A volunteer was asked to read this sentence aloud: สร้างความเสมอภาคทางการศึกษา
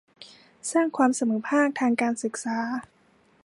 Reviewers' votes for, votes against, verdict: 2, 0, accepted